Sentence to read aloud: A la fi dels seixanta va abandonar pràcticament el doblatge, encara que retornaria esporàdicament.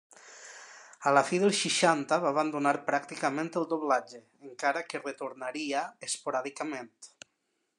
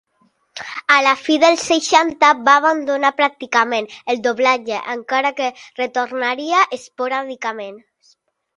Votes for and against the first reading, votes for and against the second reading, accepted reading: 1, 2, 2, 0, second